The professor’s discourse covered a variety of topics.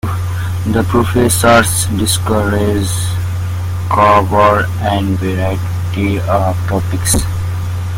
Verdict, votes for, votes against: rejected, 0, 2